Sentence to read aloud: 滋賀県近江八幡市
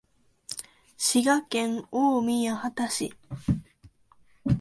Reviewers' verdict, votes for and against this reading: rejected, 1, 2